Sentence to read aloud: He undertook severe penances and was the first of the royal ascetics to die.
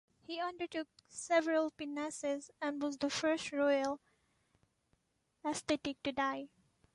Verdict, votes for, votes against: rejected, 1, 2